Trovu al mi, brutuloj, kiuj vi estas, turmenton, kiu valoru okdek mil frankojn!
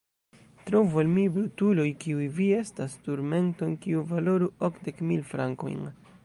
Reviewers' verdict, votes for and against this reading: rejected, 1, 2